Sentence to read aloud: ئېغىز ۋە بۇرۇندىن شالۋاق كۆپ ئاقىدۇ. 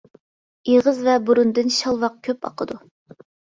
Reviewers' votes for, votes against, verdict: 2, 0, accepted